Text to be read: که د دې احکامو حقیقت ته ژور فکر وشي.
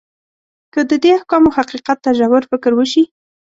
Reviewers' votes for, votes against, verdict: 2, 0, accepted